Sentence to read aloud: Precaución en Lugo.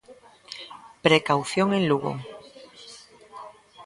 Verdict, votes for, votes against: accepted, 3, 0